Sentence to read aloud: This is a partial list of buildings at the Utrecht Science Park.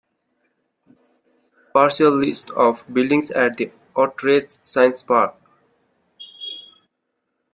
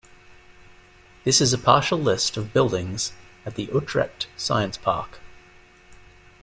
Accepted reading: second